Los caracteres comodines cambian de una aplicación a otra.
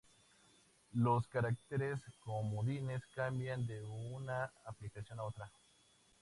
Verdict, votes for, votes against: accepted, 2, 0